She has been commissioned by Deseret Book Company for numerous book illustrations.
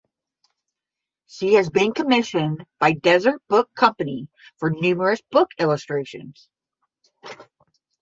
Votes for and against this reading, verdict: 5, 10, rejected